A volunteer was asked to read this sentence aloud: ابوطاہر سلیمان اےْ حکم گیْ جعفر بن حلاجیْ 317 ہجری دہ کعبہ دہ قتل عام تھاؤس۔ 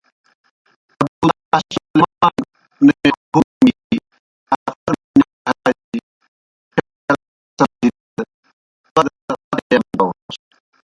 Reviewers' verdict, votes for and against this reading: rejected, 0, 2